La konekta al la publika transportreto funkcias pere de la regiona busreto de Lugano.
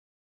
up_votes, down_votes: 1, 3